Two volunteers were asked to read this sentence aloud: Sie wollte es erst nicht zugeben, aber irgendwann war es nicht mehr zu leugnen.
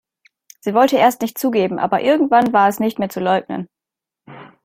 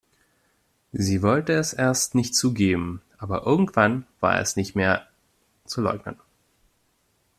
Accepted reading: second